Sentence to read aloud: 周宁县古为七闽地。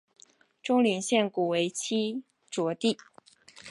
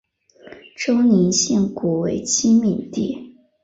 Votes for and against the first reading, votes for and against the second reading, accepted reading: 1, 3, 2, 1, second